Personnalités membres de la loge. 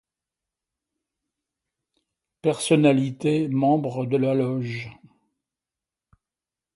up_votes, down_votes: 2, 0